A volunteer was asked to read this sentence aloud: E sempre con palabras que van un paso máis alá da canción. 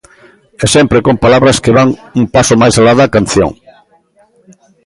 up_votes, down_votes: 2, 0